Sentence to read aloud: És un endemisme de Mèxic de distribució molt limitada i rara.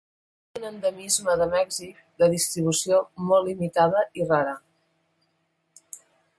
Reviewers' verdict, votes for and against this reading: rejected, 0, 2